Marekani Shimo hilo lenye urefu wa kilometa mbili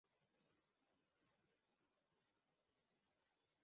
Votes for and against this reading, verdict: 0, 3, rejected